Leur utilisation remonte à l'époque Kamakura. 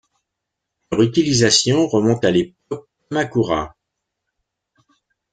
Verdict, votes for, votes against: accepted, 2, 0